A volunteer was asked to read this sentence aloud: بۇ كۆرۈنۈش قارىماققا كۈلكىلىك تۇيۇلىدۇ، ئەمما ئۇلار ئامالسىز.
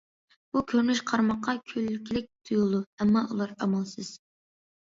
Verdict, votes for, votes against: accepted, 2, 0